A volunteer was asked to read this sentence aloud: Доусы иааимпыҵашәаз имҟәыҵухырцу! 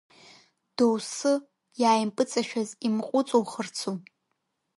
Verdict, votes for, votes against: accepted, 3, 1